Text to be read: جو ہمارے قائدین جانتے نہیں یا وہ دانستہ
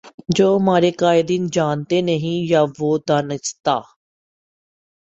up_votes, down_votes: 0, 2